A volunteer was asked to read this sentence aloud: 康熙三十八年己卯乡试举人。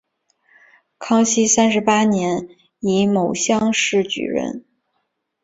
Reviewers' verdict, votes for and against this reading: rejected, 1, 2